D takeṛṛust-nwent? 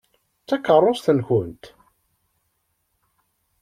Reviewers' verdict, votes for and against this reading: rejected, 1, 2